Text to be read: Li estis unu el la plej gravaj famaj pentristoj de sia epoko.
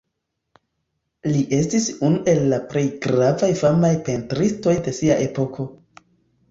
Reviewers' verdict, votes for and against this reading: accepted, 2, 1